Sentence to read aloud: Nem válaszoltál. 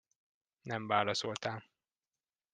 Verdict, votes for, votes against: accepted, 2, 0